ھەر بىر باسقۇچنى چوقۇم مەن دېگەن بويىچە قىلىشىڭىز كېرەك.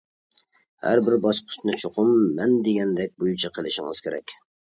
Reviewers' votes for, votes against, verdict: 0, 2, rejected